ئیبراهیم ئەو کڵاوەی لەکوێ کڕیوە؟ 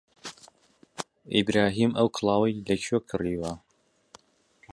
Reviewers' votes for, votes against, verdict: 2, 0, accepted